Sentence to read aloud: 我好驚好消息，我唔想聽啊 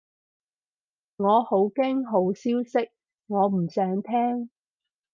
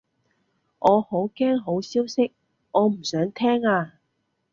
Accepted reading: second